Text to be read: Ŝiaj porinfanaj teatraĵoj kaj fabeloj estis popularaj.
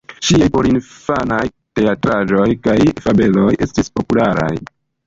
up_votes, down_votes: 2, 1